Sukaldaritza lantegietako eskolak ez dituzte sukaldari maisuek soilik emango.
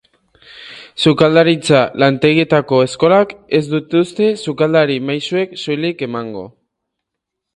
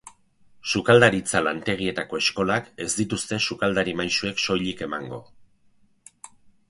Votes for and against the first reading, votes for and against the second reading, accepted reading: 0, 2, 4, 0, second